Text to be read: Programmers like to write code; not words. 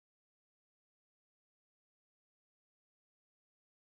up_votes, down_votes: 0, 3